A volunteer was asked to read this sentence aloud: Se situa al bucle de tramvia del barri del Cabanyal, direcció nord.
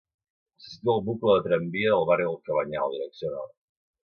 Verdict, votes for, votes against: rejected, 0, 2